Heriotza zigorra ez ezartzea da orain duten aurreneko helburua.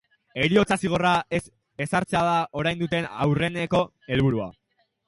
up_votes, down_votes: 2, 0